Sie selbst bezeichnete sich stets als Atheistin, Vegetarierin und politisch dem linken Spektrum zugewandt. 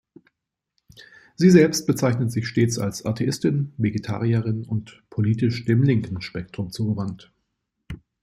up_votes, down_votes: 0, 2